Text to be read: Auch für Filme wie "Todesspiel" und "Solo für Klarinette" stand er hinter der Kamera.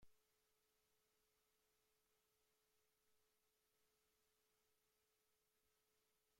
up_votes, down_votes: 1, 2